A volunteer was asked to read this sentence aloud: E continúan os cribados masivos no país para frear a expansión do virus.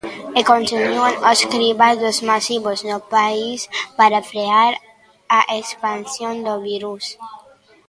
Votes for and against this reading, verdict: 1, 2, rejected